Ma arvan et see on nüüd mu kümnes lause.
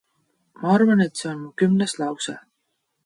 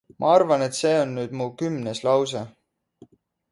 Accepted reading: second